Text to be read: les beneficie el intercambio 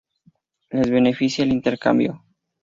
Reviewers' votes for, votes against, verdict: 2, 0, accepted